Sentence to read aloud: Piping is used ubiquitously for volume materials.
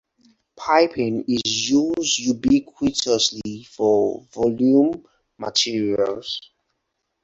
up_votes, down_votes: 0, 4